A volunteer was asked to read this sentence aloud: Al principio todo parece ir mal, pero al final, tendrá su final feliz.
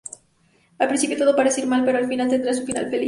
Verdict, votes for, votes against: rejected, 0, 4